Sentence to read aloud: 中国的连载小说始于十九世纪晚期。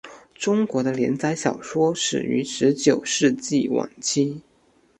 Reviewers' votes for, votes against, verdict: 2, 0, accepted